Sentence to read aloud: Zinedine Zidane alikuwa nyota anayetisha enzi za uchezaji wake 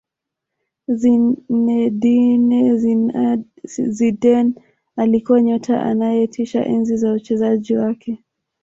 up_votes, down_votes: 0, 2